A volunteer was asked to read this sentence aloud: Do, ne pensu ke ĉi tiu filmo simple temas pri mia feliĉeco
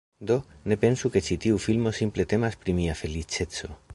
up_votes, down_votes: 0, 2